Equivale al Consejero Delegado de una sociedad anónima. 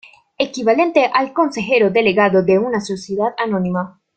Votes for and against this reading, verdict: 0, 2, rejected